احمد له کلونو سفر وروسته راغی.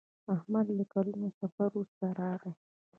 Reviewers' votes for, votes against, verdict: 2, 0, accepted